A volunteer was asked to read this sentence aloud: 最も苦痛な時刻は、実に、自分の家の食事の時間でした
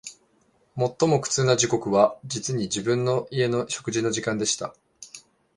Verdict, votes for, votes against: accepted, 2, 0